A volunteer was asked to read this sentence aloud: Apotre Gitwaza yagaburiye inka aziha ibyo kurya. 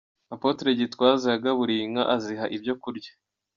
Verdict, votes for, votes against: accepted, 2, 0